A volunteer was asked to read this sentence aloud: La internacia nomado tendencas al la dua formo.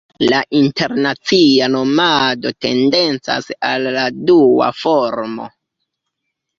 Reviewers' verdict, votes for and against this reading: accepted, 2, 0